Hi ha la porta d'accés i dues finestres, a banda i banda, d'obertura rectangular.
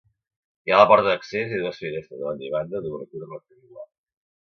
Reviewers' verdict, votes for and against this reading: rejected, 0, 2